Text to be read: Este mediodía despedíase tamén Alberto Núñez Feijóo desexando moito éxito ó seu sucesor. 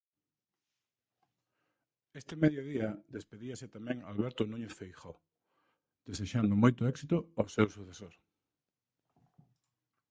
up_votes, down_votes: 0, 2